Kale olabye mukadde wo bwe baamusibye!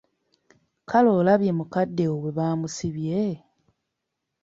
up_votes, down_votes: 2, 0